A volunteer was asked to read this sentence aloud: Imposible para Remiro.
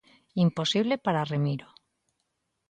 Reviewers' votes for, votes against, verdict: 2, 0, accepted